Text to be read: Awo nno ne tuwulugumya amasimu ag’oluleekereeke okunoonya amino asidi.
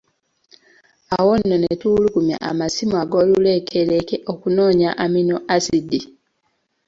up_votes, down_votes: 2, 0